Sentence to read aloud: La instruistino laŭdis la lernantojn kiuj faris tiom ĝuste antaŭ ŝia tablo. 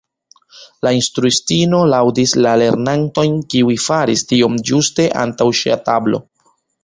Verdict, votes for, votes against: rejected, 1, 2